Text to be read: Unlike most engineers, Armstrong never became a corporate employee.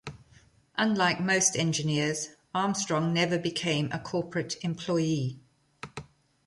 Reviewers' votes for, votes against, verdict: 2, 1, accepted